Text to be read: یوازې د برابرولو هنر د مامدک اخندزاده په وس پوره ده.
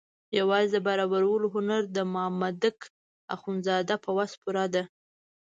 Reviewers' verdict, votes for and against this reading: accepted, 2, 0